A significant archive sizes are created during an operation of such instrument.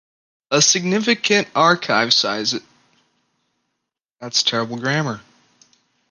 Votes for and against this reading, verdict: 0, 2, rejected